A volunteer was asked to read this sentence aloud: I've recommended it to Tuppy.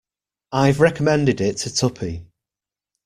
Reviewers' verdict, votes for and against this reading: accepted, 2, 0